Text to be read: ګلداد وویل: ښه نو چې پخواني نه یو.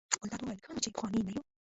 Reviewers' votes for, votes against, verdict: 0, 2, rejected